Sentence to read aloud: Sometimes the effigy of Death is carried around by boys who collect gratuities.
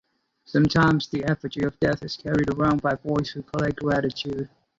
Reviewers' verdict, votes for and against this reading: rejected, 0, 2